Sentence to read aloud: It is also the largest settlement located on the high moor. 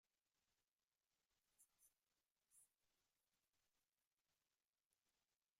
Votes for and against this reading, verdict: 0, 2, rejected